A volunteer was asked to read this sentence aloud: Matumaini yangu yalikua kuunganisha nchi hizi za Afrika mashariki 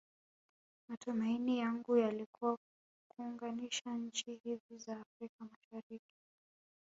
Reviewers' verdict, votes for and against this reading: rejected, 0, 2